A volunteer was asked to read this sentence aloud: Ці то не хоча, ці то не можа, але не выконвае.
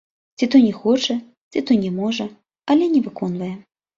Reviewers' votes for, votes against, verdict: 2, 0, accepted